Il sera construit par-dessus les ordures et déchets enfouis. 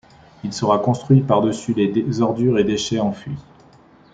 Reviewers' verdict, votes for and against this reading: rejected, 1, 2